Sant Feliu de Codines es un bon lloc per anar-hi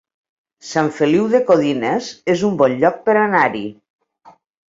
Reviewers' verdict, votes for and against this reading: accepted, 3, 0